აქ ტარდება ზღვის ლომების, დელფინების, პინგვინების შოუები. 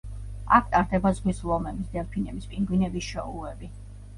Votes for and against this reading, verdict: 1, 2, rejected